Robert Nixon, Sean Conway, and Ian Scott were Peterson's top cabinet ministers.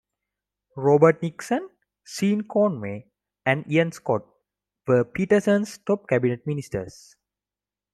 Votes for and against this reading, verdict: 0, 2, rejected